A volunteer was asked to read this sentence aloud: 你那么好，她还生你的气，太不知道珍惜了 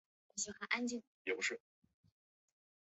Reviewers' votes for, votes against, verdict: 0, 3, rejected